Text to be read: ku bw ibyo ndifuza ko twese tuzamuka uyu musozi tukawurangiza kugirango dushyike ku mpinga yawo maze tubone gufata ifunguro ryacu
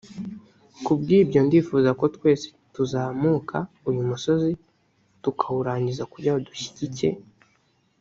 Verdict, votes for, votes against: rejected, 0, 2